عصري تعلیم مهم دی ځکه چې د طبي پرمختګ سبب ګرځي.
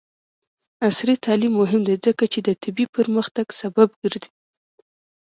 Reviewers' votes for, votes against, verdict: 1, 2, rejected